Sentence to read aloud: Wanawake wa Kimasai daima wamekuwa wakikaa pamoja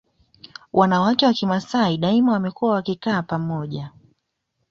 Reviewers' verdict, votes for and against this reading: accepted, 2, 0